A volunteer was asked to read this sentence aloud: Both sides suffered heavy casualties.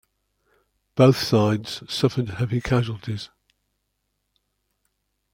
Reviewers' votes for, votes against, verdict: 2, 1, accepted